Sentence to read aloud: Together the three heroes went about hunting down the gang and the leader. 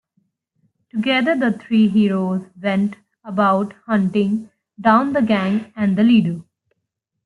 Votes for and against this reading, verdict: 0, 2, rejected